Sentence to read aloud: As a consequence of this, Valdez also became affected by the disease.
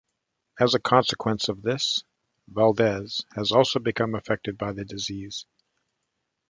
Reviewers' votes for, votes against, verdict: 1, 2, rejected